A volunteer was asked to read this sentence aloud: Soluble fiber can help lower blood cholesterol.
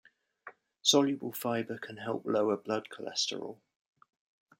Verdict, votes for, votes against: accepted, 2, 0